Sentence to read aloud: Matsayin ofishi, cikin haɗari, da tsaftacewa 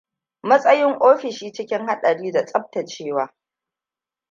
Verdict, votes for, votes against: rejected, 1, 2